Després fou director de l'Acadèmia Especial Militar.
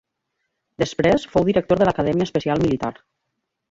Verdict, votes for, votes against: accepted, 2, 0